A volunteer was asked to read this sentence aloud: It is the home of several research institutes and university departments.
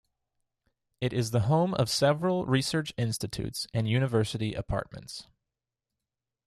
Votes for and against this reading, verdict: 0, 2, rejected